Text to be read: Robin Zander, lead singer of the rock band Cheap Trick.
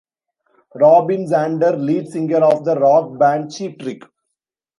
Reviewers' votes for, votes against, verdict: 1, 2, rejected